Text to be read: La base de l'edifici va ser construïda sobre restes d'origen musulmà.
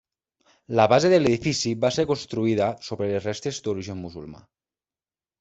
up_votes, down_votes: 1, 2